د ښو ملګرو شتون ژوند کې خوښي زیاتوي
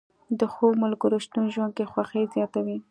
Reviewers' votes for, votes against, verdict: 2, 0, accepted